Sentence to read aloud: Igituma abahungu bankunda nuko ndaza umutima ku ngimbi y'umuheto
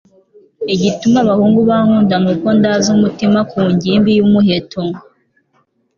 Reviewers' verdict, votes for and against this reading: accepted, 2, 1